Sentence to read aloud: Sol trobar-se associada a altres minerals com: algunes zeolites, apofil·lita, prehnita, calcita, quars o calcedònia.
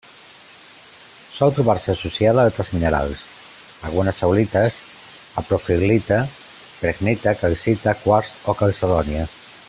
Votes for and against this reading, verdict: 1, 2, rejected